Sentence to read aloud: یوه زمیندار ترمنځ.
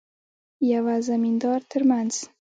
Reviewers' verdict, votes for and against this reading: accepted, 2, 1